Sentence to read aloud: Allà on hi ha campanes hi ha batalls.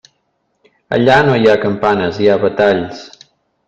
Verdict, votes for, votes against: rejected, 1, 2